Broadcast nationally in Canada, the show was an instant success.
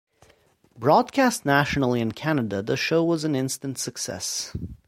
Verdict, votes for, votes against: accepted, 2, 0